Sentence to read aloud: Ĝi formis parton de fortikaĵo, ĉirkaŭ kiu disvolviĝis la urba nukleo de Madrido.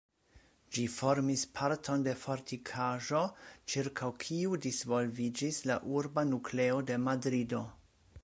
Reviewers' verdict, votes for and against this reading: accepted, 2, 0